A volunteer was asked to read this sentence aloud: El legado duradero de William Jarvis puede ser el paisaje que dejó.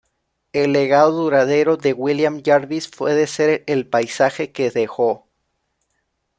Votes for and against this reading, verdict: 2, 0, accepted